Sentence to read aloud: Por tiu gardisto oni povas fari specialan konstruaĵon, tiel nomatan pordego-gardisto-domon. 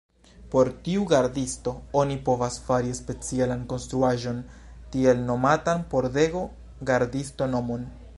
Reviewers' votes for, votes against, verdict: 0, 2, rejected